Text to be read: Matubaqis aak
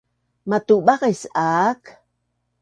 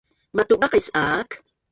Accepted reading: first